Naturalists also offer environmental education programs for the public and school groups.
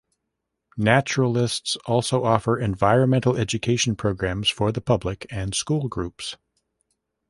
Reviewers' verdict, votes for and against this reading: accepted, 2, 0